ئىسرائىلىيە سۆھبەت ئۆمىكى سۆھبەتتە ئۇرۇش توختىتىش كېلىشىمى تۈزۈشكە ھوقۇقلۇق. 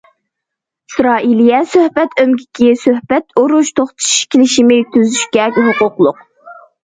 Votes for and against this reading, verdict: 1, 2, rejected